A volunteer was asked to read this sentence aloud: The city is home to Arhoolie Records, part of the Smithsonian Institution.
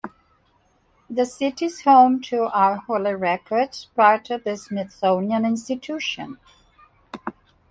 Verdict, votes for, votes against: accepted, 2, 1